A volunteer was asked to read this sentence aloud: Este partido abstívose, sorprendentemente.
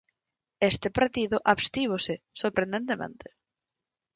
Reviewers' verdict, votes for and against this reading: accepted, 4, 2